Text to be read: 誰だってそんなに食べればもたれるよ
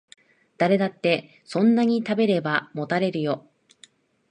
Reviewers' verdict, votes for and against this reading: accepted, 2, 0